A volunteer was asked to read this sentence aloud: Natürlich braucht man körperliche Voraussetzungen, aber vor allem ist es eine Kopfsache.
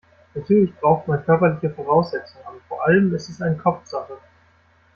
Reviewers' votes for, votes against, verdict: 0, 2, rejected